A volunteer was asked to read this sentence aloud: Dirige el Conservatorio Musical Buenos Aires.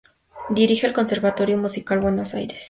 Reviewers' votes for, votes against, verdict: 2, 0, accepted